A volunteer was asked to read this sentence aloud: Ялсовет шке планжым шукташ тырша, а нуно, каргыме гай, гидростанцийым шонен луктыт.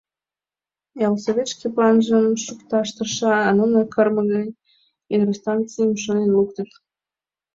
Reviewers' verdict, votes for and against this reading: rejected, 1, 2